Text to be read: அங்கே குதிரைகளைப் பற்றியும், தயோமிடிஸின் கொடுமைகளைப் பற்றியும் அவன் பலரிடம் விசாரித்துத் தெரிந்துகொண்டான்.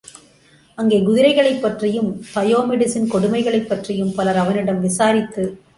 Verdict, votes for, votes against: rejected, 0, 2